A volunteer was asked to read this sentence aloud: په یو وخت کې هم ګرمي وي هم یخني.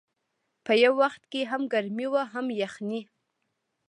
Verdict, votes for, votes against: accepted, 2, 1